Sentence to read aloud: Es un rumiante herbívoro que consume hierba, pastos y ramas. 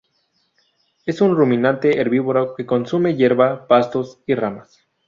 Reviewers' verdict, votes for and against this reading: rejected, 0, 2